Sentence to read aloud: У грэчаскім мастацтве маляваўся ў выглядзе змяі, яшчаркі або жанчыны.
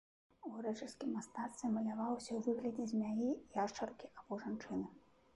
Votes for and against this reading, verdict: 1, 2, rejected